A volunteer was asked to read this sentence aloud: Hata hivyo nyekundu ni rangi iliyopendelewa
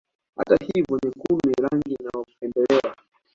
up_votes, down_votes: 0, 2